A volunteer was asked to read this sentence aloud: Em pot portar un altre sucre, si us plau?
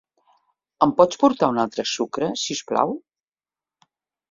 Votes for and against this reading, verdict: 0, 2, rejected